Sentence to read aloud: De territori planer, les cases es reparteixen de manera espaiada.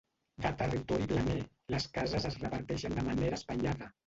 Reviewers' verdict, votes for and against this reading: rejected, 0, 2